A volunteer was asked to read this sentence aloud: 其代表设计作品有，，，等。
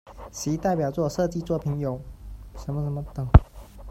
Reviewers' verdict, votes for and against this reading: rejected, 0, 2